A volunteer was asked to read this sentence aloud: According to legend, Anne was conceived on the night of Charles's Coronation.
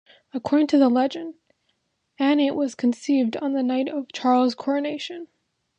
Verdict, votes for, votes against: rejected, 0, 2